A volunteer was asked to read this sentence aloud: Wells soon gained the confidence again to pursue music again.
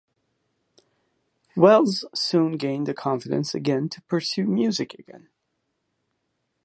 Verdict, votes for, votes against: accepted, 2, 1